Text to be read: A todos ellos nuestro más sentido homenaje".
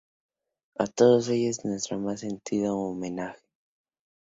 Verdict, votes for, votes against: rejected, 0, 2